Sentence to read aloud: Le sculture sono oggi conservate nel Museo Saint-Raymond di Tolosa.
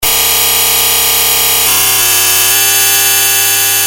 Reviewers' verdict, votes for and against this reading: rejected, 0, 2